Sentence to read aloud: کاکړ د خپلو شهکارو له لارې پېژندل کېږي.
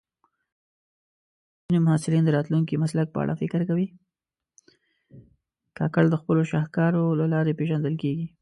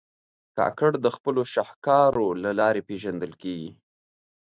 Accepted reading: second